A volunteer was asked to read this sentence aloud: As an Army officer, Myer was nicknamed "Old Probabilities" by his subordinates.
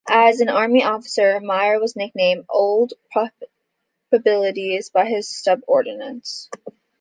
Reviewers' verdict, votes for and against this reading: rejected, 0, 2